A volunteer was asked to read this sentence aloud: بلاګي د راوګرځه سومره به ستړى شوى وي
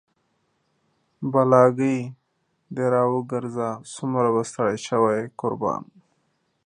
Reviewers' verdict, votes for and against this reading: rejected, 0, 2